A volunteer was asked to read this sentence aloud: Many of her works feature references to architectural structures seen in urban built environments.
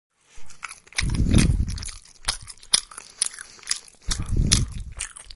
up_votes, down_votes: 0, 3